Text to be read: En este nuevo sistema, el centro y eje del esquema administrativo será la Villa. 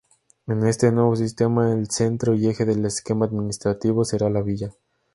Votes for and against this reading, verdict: 2, 0, accepted